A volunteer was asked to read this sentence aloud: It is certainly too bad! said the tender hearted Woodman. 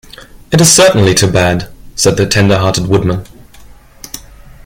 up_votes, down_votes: 2, 0